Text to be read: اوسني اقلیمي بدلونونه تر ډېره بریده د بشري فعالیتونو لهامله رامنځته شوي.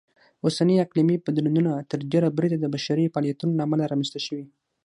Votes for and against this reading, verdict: 3, 6, rejected